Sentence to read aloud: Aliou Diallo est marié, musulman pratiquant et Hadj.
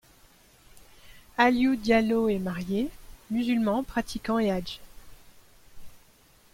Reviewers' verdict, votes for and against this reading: accepted, 2, 1